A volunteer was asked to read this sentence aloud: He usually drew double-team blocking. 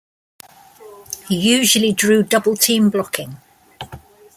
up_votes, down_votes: 2, 0